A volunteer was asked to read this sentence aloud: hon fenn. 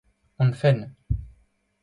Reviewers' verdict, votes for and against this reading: accepted, 2, 0